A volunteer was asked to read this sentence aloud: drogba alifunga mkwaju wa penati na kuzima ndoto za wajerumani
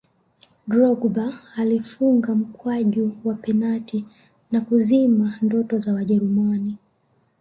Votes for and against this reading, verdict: 0, 2, rejected